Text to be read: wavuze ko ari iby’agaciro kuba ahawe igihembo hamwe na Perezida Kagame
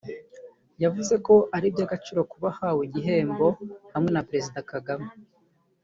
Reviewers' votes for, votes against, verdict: 0, 2, rejected